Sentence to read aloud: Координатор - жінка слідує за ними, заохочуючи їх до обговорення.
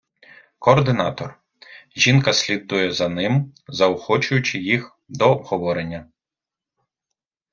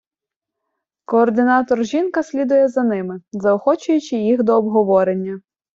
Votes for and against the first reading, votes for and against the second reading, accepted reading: 1, 2, 2, 0, second